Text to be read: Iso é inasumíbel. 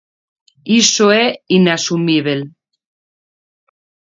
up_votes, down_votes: 2, 0